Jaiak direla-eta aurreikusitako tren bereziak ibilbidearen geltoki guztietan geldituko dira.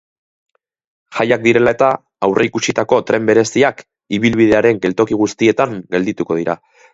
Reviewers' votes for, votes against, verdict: 5, 0, accepted